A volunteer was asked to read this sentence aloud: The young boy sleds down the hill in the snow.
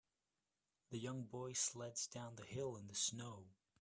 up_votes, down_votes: 2, 1